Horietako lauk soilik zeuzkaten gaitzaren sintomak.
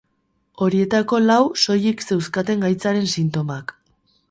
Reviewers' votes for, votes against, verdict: 0, 4, rejected